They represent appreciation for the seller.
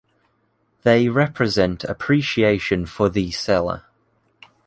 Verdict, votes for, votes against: accepted, 2, 0